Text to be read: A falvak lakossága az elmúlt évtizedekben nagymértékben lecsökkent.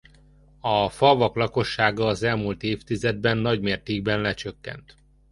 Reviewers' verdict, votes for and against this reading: rejected, 1, 2